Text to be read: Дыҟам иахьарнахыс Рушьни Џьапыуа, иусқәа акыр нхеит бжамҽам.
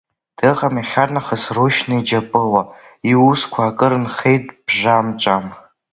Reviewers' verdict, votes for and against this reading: rejected, 0, 2